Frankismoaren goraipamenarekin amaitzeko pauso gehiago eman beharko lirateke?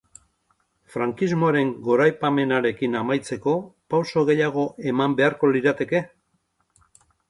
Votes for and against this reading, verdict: 4, 0, accepted